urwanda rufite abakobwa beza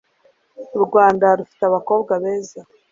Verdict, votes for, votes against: accepted, 2, 0